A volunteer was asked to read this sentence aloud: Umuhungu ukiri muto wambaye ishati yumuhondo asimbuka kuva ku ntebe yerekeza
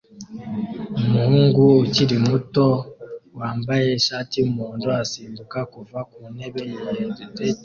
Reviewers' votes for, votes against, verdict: 1, 2, rejected